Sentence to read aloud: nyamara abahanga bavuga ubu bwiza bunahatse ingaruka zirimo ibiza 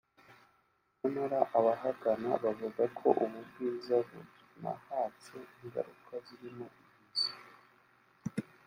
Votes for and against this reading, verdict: 2, 3, rejected